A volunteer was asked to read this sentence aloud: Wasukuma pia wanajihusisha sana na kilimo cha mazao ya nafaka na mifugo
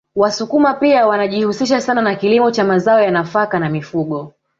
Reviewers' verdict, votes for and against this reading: accepted, 2, 0